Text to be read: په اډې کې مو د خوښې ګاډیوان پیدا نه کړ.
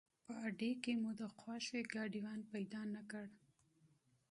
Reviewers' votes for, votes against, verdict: 2, 0, accepted